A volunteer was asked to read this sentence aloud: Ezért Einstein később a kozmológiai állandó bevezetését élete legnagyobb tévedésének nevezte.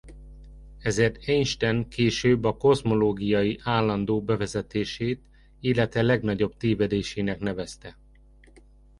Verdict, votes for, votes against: rejected, 0, 2